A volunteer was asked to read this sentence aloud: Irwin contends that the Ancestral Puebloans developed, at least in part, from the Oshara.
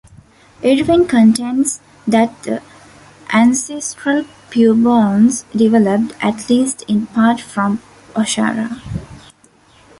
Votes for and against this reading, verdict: 0, 2, rejected